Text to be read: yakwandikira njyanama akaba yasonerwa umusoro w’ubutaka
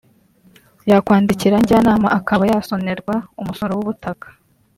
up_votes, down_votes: 2, 0